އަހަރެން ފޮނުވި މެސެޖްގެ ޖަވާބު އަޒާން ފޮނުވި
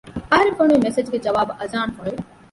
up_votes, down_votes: 0, 2